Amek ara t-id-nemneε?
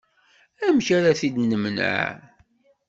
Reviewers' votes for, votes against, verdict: 2, 0, accepted